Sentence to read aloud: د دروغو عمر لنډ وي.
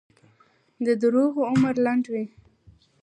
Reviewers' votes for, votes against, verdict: 2, 0, accepted